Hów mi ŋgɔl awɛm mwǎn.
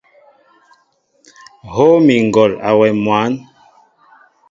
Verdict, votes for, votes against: accepted, 2, 0